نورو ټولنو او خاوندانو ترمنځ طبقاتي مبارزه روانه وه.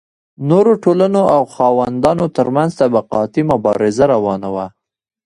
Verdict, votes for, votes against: rejected, 1, 2